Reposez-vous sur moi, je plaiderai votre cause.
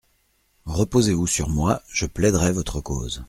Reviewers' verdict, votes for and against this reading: accepted, 2, 0